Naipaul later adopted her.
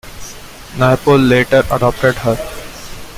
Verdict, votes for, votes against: accepted, 2, 0